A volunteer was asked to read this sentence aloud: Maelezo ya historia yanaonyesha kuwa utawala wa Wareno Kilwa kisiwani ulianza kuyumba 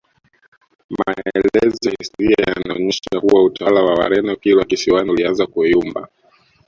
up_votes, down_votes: 1, 2